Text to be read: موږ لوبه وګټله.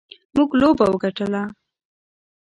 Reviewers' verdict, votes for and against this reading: accepted, 2, 0